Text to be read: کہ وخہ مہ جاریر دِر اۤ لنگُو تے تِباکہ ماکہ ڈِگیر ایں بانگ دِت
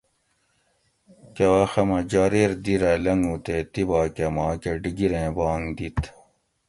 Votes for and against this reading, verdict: 2, 0, accepted